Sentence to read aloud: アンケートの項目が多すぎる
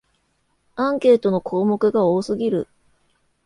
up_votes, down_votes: 2, 0